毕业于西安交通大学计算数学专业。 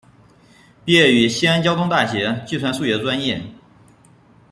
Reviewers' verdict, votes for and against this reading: rejected, 0, 2